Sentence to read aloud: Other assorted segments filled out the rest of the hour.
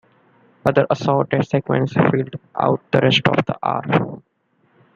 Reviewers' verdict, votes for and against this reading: accepted, 2, 1